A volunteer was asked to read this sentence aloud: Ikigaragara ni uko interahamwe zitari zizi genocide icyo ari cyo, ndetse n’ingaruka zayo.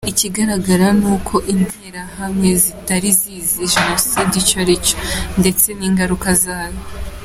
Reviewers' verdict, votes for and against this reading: accepted, 2, 1